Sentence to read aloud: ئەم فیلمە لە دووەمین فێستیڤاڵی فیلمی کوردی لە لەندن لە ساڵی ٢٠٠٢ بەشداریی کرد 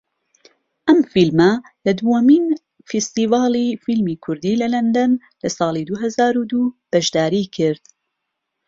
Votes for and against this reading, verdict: 0, 2, rejected